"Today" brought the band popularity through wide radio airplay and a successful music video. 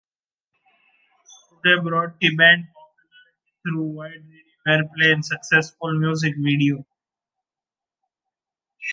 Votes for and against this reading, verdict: 0, 2, rejected